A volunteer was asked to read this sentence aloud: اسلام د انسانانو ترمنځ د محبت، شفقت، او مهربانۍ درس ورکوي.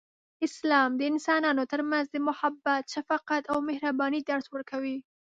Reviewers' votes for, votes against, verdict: 2, 0, accepted